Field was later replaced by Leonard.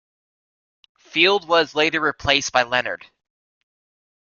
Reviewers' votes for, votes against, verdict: 3, 0, accepted